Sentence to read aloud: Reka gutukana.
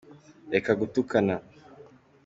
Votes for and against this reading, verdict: 2, 0, accepted